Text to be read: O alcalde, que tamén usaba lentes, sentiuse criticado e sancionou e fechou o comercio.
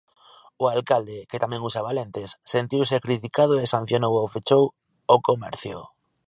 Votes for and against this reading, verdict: 0, 2, rejected